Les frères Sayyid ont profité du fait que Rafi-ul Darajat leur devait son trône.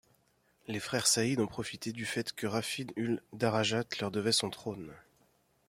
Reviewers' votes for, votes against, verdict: 1, 2, rejected